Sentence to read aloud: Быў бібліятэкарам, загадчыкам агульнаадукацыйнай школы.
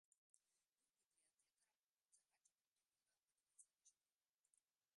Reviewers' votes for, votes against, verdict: 0, 2, rejected